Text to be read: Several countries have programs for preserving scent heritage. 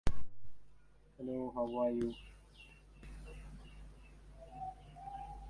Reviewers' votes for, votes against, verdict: 0, 2, rejected